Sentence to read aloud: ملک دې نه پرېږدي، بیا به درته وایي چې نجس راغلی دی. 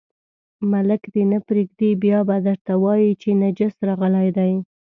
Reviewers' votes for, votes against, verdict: 2, 0, accepted